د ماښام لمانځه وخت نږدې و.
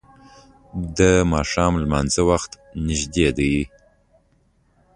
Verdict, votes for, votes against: rejected, 0, 2